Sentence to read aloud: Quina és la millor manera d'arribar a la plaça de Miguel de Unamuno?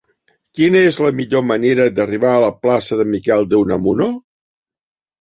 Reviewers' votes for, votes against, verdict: 0, 2, rejected